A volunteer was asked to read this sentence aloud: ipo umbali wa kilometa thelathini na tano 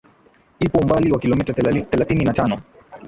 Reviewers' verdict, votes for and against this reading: accepted, 2, 0